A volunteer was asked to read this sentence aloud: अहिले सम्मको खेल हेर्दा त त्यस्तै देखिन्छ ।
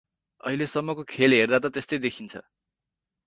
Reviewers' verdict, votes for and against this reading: accepted, 4, 0